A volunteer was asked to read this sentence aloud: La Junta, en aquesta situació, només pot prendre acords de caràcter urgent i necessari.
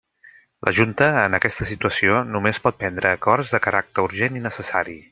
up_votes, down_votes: 3, 0